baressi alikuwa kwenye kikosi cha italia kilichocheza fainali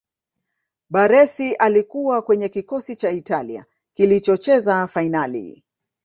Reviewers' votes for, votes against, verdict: 2, 0, accepted